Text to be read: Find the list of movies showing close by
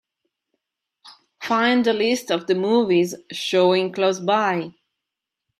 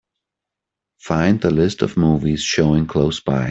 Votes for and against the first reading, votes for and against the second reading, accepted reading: 0, 2, 2, 0, second